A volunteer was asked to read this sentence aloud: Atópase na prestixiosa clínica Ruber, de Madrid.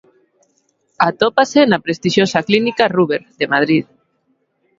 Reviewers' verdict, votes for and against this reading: accepted, 2, 0